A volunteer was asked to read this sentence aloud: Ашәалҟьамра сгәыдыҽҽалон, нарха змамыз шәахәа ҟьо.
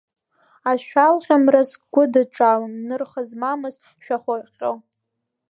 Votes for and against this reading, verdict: 0, 2, rejected